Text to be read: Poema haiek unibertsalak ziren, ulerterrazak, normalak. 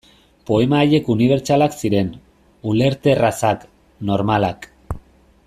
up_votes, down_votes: 3, 0